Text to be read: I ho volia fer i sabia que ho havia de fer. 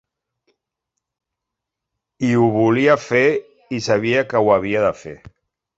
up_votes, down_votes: 3, 0